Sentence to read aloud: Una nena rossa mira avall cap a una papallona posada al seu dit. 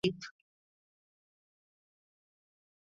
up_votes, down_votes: 1, 3